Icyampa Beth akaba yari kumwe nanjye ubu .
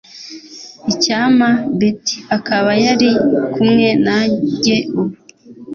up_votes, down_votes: 2, 0